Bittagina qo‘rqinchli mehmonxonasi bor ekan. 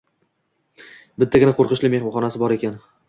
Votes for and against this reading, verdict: 2, 0, accepted